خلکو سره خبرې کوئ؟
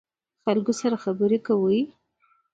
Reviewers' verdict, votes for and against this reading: accepted, 2, 0